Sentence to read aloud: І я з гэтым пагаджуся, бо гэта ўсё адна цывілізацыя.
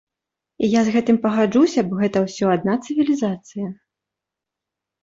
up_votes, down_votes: 2, 0